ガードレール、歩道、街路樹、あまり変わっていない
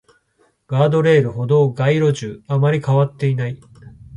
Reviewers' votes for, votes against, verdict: 2, 0, accepted